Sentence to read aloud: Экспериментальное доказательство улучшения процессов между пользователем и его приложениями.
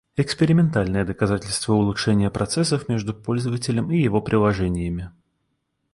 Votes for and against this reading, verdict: 2, 0, accepted